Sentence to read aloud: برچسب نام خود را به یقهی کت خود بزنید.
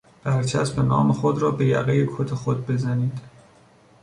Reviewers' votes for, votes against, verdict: 2, 0, accepted